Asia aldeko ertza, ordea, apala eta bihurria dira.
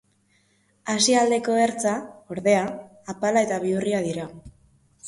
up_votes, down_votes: 3, 0